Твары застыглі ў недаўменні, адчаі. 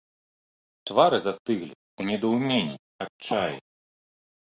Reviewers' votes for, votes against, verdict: 3, 0, accepted